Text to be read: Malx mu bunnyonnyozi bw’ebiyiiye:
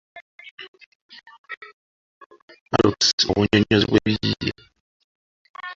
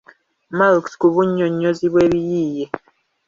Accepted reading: second